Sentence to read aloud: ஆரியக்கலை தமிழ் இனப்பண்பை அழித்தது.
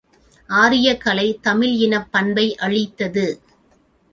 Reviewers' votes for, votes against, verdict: 2, 0, accepted